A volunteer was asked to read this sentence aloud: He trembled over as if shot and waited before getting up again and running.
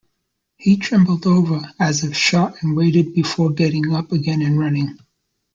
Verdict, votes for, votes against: accepted, 2, 0